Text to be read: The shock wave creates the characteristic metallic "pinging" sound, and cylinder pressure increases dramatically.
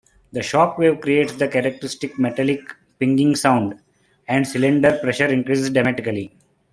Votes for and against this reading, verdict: 2, 0, accepted